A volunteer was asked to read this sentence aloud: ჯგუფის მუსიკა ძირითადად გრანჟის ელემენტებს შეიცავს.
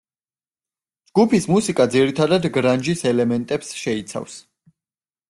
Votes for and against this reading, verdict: 2, 0, accepted